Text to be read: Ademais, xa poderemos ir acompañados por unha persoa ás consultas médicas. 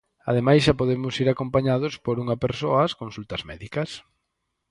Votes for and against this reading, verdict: 0, 4, rejected